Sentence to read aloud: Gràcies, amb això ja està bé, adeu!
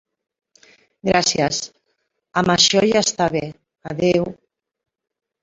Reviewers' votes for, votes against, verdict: 1, 2, rejected